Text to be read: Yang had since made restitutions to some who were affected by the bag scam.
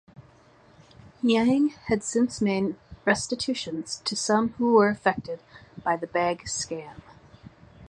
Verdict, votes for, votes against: rejected, 1, 2